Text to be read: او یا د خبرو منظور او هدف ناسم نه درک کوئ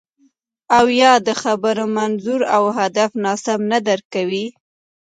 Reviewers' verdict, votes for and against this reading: accepted, 3, 0